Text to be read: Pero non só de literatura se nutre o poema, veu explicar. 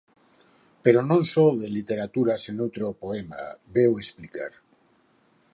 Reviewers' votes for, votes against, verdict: 4, 2, accepted